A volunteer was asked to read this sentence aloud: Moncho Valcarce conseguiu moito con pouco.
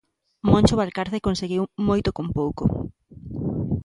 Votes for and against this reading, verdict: 2, 0, accepted